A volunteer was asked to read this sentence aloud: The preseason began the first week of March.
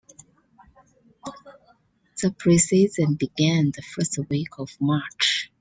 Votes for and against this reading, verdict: 2, 0, accepted